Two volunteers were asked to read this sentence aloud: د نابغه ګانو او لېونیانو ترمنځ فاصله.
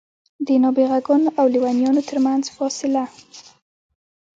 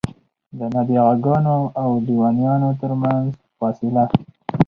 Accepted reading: second